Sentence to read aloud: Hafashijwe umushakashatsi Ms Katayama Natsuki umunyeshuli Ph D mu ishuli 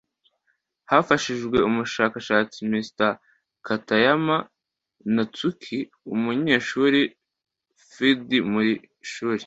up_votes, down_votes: 2, 0